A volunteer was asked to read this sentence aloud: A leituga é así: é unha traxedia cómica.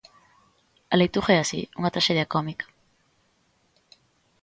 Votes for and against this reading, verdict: 0, 2, rejected